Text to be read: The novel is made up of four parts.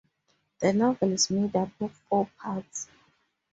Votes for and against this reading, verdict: 2, 0, accepted